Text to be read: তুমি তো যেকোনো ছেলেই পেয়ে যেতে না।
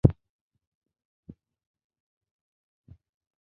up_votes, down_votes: 0, 2